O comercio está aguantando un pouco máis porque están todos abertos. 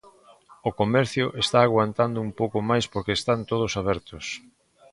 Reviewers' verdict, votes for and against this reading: accepted, 2, 0